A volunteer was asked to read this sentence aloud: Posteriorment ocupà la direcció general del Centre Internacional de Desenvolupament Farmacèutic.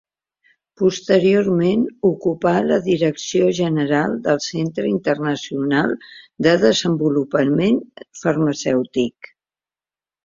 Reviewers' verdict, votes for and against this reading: accepted, 2, 0